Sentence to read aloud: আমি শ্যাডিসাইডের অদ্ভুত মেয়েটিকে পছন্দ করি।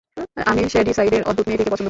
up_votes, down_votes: 0, 2